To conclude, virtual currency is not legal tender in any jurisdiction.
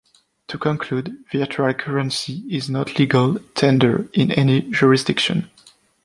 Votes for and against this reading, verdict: 3, 0, accepted